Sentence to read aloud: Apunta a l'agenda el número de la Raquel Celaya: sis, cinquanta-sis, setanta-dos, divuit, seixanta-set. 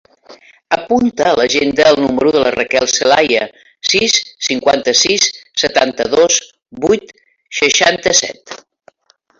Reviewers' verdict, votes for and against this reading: rejected, 0, 3